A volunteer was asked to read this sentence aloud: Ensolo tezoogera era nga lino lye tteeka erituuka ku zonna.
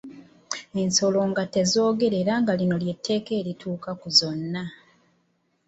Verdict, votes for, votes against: rejected, 0, 2